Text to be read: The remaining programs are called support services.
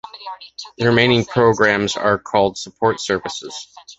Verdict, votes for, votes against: accepted, 2, 0